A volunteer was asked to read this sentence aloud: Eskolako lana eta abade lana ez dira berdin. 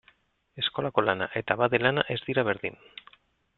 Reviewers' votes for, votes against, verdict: 2, 0, accepted